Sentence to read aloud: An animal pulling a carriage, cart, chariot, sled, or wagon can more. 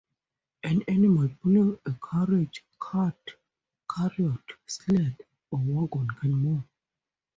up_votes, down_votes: 0, 4